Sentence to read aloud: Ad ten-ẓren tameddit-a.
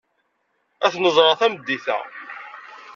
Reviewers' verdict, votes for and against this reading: rejected, 1, 2